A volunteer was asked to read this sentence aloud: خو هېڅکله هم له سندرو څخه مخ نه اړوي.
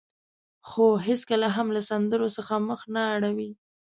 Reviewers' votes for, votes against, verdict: 2, 0, accepted